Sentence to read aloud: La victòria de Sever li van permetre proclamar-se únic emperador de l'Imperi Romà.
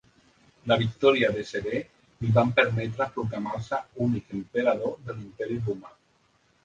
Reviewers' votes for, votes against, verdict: 2, 1, accepted